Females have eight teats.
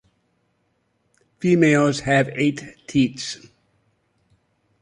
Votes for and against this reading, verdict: 2, 0, accepted